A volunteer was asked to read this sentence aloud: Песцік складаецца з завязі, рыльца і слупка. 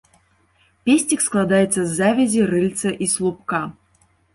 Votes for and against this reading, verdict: 2, 1, accepted